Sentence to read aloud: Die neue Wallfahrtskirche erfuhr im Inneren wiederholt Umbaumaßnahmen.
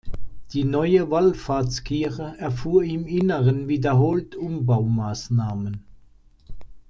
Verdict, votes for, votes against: accepted, 2, 0